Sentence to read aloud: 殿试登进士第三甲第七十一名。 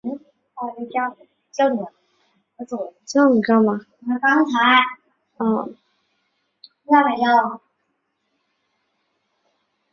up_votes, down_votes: 0, 2